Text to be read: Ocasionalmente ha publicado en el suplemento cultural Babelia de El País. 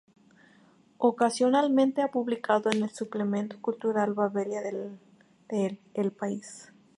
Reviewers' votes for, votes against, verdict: 0, 2, rejected